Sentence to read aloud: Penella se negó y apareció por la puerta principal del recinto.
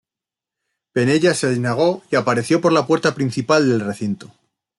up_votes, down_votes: 0, 2